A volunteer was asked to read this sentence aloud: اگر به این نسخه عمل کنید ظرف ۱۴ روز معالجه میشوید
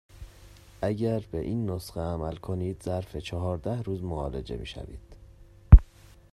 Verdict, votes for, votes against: rejected, 0, 2